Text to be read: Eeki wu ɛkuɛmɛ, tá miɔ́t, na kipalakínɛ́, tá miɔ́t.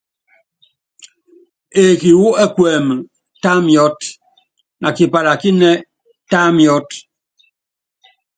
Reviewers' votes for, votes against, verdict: 2, 0, accepted